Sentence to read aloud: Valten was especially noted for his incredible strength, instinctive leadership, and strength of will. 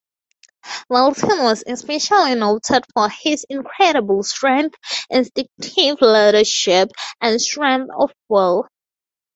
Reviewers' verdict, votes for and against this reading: accepted, 2, 0